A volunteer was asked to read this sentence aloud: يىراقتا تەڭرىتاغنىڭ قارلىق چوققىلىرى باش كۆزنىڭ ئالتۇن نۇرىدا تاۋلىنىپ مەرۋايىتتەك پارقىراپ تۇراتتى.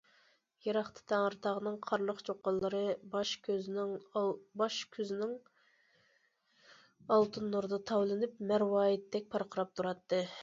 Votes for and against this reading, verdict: 0, 2, rejected